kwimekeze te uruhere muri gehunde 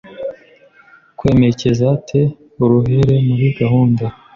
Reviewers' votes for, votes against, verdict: 1, 2, rejected